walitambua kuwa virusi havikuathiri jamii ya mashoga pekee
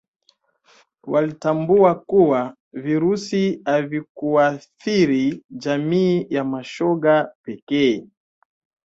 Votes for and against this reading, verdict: 3, 1, accepted